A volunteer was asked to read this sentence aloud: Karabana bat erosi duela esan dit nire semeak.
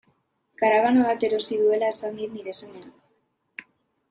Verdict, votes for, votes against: accepted, 2, 0